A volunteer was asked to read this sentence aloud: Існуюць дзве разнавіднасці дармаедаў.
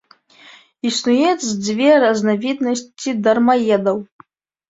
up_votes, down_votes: 0, 2